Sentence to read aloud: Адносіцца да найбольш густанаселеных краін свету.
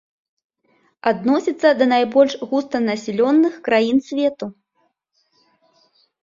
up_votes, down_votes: 0, 4